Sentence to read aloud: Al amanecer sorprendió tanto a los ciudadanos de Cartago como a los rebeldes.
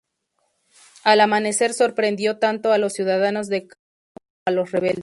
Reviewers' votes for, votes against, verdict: 0, 2, rejected